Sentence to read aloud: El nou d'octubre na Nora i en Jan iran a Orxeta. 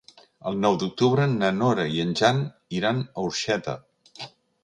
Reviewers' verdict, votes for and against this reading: accepted, 2, 0